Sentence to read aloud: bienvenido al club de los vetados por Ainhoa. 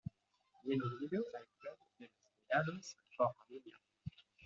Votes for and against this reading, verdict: 1, 2, rejected